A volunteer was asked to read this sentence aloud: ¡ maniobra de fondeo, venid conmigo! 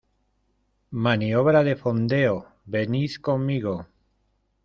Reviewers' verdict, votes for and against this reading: rejected, 1, 2